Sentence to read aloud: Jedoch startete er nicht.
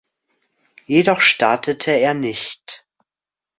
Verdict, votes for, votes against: accepted, 2, 0